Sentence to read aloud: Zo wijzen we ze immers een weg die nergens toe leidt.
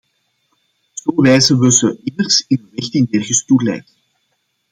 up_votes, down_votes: 0, 2